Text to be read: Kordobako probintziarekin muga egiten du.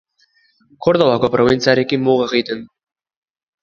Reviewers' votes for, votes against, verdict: 1, 2, rejected